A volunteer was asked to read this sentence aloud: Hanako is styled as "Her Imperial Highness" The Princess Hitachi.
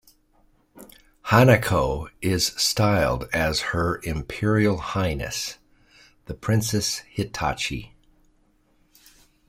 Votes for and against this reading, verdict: 2, 0, accepted